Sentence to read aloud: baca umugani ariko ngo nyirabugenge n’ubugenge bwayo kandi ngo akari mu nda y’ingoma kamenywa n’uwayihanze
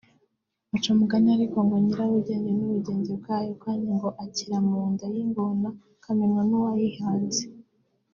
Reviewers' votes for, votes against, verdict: 1, 2, rejected